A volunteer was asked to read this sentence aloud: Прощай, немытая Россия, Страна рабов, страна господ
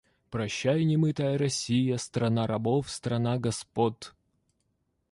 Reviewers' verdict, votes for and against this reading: rejected, 1, 2